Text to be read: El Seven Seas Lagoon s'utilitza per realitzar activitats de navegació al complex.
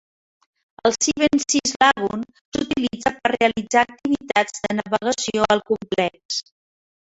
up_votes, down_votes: 1, 2